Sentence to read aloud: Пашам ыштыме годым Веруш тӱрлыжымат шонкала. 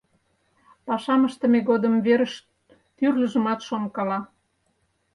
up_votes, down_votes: 0, 4